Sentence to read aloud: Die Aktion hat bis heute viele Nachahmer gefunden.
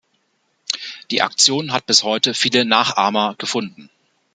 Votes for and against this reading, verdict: 2, 0, accepted